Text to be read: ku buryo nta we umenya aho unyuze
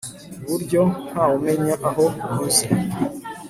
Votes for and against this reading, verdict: 2, 0, accepted